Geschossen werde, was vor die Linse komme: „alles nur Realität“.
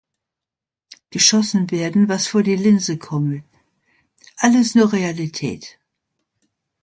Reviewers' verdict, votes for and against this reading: accepted, 2, 1